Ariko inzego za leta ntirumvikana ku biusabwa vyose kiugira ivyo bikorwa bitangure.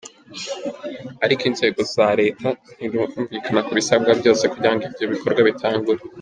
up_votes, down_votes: 2, 1